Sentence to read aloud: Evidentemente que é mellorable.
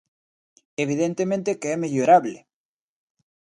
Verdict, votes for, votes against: accepted, 2, 0